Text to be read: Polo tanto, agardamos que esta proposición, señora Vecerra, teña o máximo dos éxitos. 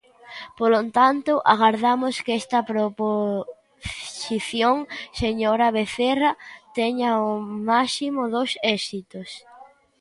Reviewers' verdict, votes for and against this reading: rejected, 1, 3